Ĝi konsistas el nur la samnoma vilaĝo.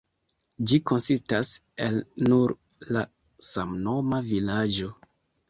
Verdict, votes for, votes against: accepted, 2, 1